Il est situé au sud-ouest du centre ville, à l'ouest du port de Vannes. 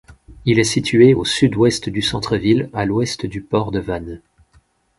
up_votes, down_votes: 4, 0